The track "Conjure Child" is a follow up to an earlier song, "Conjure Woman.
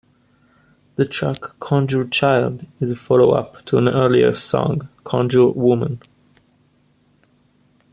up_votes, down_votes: 2, 0